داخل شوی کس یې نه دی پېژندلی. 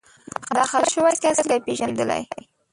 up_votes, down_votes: 0, 2